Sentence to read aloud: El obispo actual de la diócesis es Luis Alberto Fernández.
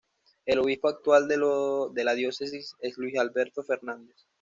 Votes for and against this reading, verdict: 2, 0, accepted